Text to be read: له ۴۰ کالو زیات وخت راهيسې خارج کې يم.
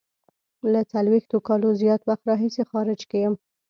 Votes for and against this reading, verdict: 0, 2, rejected